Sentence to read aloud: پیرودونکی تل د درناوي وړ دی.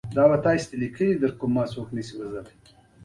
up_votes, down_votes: 1, 2